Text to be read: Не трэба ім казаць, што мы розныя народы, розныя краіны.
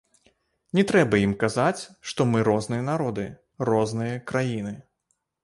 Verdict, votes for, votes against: rejected, 0, 2